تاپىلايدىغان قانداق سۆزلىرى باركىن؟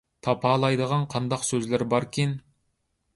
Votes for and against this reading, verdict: 2, 0, accepted